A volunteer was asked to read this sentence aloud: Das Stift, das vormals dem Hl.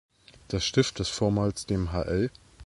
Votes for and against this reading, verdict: 2, 0, accepted